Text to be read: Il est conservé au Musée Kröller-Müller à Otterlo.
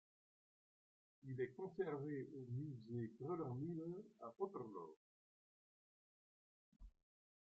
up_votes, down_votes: 0, 2